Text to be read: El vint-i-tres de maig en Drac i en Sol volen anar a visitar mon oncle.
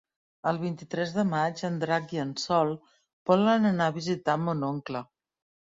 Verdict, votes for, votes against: accepted, 3, 0